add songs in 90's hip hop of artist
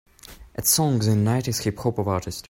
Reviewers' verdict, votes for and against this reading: rejected, 0, 2